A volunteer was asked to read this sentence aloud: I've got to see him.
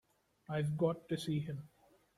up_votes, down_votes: 2, 0